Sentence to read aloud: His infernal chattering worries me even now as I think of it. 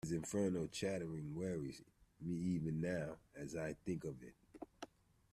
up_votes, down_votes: 1, 2